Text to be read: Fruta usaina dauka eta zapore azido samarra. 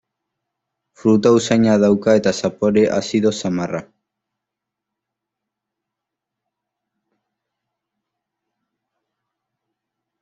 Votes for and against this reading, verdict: 3, 2, accepted